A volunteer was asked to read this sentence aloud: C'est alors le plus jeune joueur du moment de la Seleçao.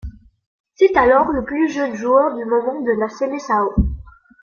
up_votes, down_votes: 2, 1